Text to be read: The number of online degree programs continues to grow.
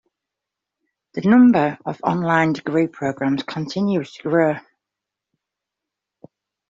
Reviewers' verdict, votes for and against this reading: accepted, 2, 0